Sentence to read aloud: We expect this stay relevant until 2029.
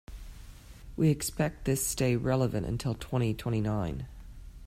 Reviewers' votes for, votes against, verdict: 0, 2, rejected